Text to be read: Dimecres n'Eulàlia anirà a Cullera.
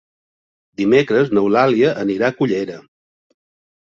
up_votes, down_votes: 3, 0